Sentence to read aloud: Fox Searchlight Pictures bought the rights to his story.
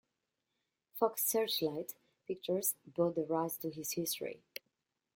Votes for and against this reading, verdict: 0, 2, rejected